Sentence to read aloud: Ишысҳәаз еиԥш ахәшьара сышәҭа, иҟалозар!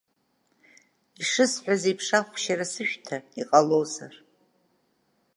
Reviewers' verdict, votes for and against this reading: accepted, 2, 0